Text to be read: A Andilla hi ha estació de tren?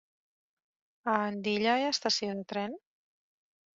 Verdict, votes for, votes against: accepted, 3, 0